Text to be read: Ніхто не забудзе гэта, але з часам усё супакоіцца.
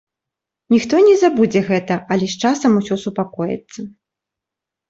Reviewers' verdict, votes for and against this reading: accepted, 2, 0